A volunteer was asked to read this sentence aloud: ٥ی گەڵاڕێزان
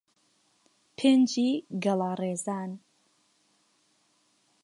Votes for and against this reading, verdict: 0, 2, rejected